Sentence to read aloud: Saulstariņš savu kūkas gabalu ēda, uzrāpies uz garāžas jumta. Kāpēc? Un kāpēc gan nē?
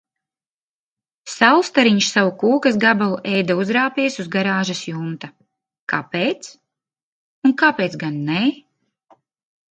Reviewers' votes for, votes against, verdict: 2, 0, accepted